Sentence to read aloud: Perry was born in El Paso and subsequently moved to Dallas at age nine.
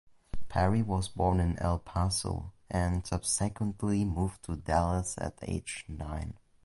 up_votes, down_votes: 2, 0